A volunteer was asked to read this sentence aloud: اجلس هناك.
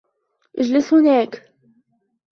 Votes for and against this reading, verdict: 1, 2, rejected